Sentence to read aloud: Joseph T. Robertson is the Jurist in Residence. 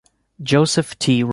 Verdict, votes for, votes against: rejected, 0, 2